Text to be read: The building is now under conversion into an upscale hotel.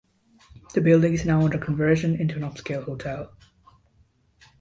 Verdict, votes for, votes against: accepted, 2, 0